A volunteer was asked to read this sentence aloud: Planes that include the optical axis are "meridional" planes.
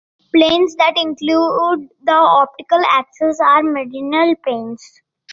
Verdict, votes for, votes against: rejected, 2, 3